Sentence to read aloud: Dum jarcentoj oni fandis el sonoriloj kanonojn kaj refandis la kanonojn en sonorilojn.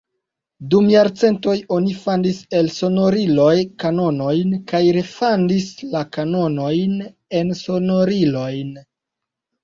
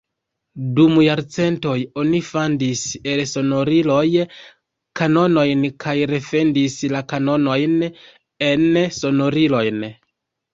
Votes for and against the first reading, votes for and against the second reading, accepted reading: 2, 0, 1, 2, first